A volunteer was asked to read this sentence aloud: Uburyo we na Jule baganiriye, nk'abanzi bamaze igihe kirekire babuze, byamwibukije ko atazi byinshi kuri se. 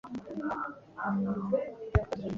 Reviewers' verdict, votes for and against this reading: rejected, 1, 2